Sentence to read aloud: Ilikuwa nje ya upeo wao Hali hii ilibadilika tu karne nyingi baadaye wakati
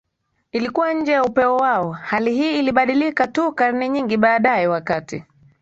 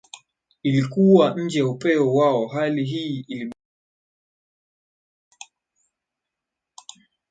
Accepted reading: first